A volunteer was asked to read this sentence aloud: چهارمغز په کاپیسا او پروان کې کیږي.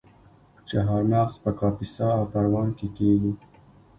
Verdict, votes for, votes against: accepted, 2, 0